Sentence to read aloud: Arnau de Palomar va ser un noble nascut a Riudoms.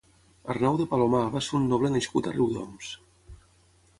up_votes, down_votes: 0, 3